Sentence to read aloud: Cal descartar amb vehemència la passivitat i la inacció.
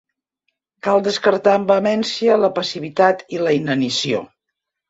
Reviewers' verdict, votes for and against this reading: rejected, 0, 2